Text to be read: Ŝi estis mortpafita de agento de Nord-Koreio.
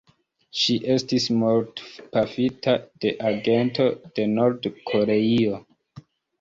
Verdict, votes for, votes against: rejected, 0, 2